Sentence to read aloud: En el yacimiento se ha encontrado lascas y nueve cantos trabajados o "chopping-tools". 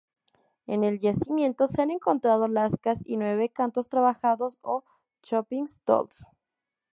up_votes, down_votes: 0, 2